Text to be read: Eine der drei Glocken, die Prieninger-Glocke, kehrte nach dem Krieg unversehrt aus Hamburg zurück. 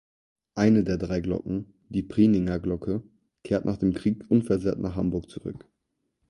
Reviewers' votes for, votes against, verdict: 0, 4, rejected